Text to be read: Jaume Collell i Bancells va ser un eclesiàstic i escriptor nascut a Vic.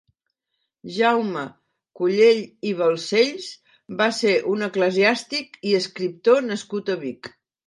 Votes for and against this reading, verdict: 2, 1, accepted